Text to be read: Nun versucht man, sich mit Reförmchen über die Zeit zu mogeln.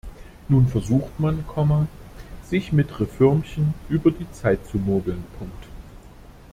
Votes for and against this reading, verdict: 1, 2, rejected